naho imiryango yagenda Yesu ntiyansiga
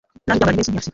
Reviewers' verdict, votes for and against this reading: rejected, 0, 2